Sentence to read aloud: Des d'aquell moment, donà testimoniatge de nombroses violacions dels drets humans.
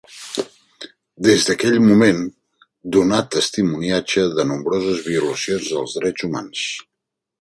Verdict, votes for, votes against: accepted, 3, 0